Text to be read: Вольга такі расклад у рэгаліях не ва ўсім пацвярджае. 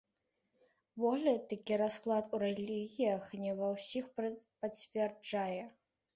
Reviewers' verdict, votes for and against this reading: rejected, 1, 2